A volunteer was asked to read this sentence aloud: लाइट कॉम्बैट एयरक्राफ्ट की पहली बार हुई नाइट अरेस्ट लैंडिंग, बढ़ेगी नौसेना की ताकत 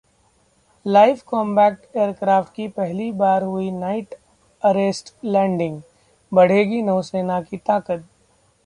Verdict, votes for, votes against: accepted, 2, 0